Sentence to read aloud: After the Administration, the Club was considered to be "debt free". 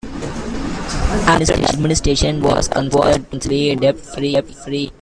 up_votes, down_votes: 0, 2